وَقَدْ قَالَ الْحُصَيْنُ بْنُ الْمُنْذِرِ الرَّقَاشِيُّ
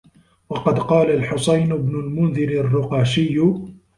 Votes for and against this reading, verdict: 0, 2, rejected